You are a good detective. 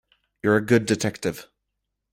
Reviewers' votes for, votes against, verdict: 1, 2, rejected